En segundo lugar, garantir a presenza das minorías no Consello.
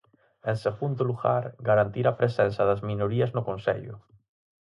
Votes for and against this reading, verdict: 4, 0, accepted